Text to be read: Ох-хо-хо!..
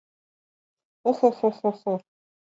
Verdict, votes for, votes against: rejected, 0, 2